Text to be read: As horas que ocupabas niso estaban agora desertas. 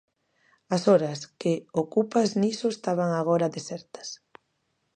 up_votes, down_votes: 0, 2